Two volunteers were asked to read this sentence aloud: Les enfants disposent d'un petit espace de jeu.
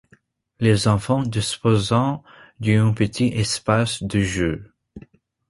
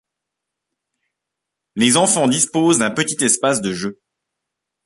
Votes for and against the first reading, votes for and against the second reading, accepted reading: 0, 2, 2, 0, second